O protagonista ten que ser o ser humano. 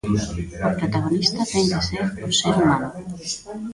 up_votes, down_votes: 0, 2